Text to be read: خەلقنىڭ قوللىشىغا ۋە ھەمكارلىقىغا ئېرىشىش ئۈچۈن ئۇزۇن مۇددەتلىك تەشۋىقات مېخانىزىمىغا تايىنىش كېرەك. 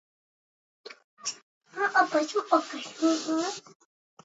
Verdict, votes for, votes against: rejected, 0, 2